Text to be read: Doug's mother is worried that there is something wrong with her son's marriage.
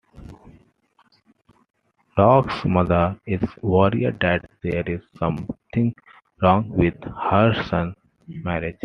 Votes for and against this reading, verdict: 0, 2, rejected